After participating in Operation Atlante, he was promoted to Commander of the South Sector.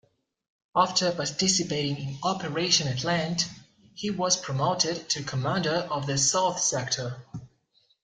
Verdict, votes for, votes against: accepted, 2, 0